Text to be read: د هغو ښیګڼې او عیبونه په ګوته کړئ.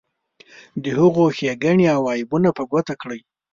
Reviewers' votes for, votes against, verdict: 2, 0, accepted